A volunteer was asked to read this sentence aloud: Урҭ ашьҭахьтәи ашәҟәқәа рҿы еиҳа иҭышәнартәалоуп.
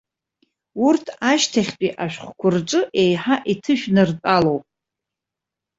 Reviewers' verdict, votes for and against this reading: accepted, 2, 0